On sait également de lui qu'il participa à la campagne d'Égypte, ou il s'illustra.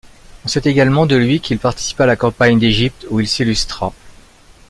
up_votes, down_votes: 2, 0